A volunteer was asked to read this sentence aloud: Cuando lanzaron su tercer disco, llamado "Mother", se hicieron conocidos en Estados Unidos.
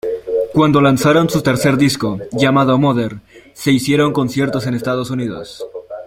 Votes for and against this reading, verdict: 0, 2, rejected